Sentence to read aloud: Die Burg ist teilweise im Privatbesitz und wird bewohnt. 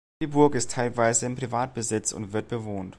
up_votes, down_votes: 2, 0